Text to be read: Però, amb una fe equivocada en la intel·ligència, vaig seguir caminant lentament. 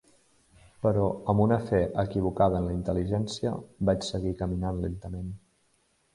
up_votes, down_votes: 0, 2